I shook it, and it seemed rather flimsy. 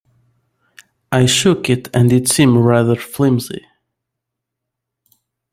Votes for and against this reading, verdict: 2, 0, accepted